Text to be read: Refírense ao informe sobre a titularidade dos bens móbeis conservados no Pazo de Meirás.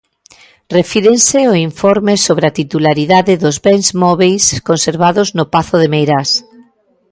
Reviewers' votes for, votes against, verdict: 2, 0, accepted